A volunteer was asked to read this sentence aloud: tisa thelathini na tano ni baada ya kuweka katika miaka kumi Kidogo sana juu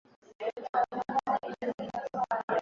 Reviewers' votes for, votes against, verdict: 0, 2, rejected